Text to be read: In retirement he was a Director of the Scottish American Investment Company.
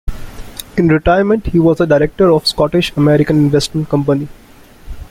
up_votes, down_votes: 2, 1